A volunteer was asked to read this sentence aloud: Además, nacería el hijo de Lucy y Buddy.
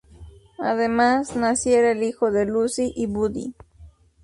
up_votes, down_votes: 0, 2